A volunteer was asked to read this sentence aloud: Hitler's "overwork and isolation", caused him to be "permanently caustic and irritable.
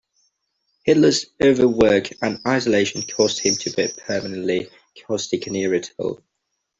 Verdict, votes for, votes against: rejected, 1, 2